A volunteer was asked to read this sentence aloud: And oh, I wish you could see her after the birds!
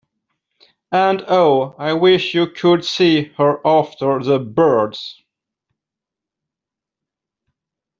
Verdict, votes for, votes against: accepted, 2, 0